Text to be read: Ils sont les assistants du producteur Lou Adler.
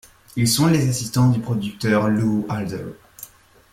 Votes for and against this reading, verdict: 0, 2, rejected